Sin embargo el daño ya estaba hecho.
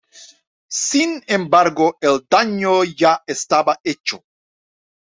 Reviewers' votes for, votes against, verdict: 2, 1, accepted